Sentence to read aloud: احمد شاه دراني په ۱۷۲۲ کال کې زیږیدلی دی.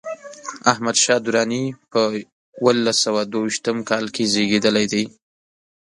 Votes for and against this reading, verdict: 0, 2, rejected